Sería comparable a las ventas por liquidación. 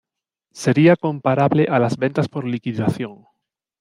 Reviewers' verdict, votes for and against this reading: accepted, 2, 0